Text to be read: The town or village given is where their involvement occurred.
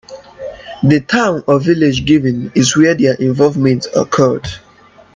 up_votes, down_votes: 2, 0